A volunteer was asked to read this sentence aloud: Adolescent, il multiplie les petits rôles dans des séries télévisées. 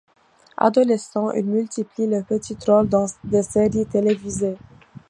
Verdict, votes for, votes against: accepted, 2, 0